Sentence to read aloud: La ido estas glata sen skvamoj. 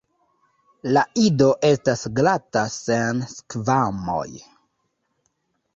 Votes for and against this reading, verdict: 1, 2, rejected